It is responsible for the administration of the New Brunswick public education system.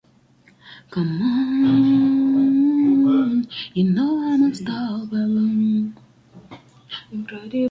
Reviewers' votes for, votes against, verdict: 0, 2, rejected